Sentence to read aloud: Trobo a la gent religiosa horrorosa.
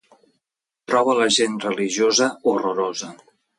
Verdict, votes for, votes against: accepted, 2, 0